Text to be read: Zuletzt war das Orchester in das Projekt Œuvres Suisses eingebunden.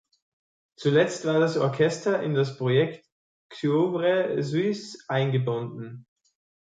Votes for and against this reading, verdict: 2, 3, rejected